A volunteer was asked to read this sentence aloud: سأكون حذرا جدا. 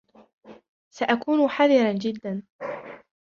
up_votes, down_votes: 1, 2